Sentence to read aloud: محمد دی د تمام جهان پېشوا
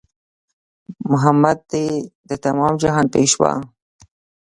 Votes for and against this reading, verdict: 2, 0, accepted